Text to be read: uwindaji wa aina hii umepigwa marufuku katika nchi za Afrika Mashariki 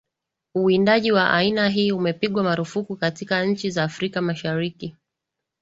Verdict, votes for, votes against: accepted, 3, 0